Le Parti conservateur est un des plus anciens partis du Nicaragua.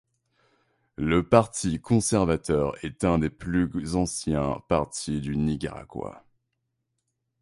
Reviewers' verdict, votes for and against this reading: rejected, 1, 2